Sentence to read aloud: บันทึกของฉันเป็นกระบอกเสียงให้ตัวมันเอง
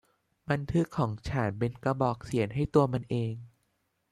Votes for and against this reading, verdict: 2, 0, accepted